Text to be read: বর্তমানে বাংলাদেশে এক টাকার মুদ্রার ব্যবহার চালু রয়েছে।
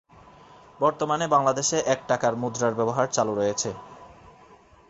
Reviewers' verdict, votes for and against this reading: accepted, 2, 0